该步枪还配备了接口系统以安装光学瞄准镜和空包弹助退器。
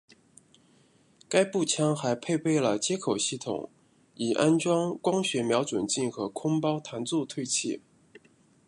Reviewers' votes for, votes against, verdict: 1, 2, rejected